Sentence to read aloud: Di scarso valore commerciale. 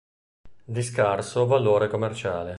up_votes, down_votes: 2, 0